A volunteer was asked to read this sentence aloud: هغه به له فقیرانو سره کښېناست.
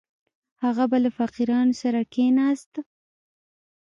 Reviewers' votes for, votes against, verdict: 2, 1, accepted